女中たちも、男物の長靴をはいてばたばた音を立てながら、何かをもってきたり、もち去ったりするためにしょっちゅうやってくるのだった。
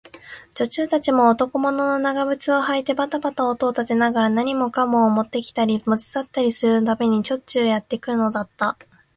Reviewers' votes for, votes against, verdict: 1, 2, rejected